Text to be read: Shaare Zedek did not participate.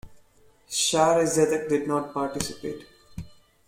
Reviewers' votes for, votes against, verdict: 2, 0, accepted